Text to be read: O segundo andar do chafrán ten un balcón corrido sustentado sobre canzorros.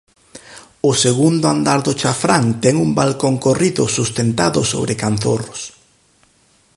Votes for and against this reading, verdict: 4, 0, accepted